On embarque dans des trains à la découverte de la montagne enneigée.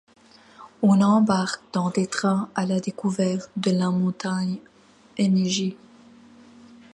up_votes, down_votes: 1, 2